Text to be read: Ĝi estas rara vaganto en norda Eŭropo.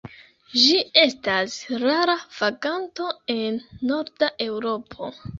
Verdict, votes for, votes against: accepted, 2, 1